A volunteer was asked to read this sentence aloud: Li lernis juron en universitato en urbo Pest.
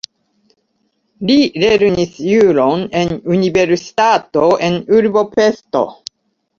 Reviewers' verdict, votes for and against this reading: rejected, 0, 2